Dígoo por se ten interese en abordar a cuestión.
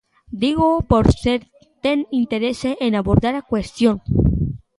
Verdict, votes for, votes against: rejected, 1, 2